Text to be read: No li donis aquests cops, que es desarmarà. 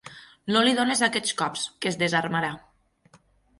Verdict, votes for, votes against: accepted, 6, 0